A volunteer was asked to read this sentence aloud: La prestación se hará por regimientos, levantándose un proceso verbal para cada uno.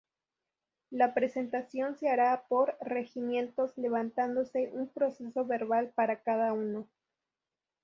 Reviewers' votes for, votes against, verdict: 0, 2, rejected